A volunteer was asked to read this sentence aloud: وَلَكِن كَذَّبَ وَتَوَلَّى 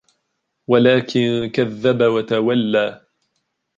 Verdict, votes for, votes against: accepted, 3, 0